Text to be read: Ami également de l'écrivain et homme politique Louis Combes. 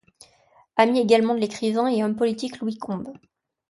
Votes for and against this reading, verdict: 2, 0, accepted